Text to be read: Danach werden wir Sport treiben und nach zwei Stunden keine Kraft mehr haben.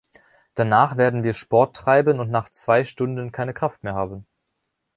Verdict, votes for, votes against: accepted, 2, 0